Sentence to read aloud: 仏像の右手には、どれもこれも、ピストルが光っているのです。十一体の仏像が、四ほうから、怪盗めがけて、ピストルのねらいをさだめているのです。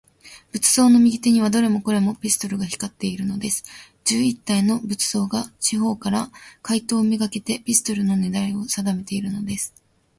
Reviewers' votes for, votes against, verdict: 14, 1, accepted